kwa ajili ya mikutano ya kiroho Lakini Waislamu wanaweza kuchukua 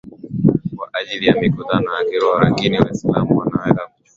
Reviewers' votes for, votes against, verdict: 2, 0, accepted